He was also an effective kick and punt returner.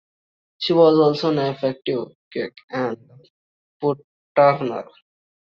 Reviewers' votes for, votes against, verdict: 0, 2, rejected